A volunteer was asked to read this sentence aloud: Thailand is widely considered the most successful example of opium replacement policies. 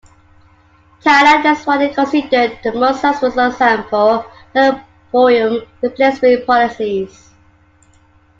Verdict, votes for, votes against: accepted, 2, 0